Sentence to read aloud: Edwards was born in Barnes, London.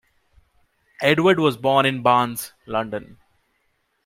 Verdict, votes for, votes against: accepted, 2, 0